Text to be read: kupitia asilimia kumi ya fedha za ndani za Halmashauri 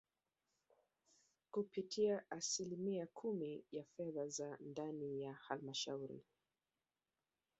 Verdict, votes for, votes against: accepted, 2, 0